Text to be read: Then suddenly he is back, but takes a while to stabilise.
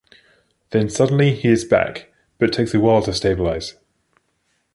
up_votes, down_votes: 2, 0